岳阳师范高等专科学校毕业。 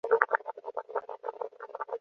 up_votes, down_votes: 0, 2